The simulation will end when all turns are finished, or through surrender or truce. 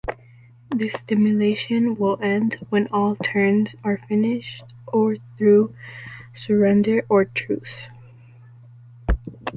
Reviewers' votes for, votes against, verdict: 0, 2, rejected